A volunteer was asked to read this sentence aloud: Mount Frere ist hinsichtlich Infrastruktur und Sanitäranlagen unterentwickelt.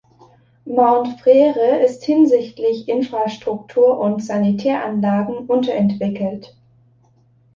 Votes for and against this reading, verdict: 2, 0, accepted